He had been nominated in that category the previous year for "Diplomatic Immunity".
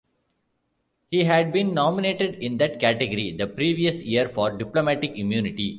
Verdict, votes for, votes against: accepted, 2, 1